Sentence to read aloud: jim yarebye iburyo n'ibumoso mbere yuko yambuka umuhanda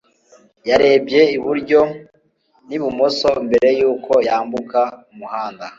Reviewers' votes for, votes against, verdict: 2, 0, accepted